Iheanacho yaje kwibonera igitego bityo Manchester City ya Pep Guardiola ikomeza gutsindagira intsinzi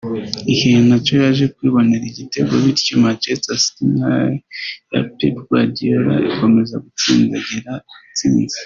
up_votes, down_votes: 1, 2